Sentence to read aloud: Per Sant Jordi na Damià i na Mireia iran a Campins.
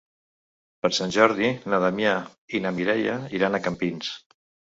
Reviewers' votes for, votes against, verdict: 3, 0, accepted